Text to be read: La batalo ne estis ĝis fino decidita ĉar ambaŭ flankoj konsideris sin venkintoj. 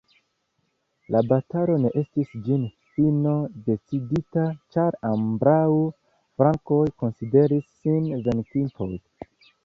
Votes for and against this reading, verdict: 1, 2, rejected